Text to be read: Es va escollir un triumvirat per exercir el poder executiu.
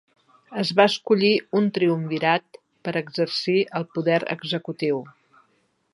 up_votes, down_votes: 2, 0